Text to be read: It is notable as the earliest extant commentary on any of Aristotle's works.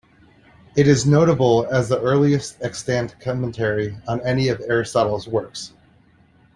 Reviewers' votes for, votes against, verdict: 2, 0, accepted